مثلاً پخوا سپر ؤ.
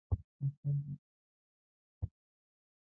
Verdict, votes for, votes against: accepted, 2, 1